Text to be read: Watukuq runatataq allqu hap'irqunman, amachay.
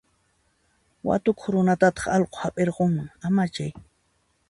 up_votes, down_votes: 2, 0